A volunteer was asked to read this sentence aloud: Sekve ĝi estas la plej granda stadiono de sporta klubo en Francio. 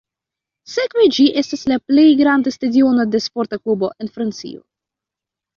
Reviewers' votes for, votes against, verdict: 1, 2, rejected